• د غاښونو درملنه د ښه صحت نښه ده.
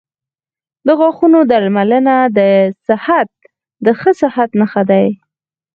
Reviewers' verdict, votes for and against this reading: rejected, 2, 4